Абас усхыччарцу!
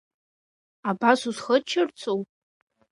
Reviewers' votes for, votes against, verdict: 2, 0, accepted